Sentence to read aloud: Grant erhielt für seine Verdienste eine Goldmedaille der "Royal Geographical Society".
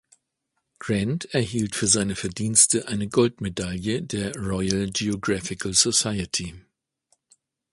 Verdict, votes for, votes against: accepted, 2, 0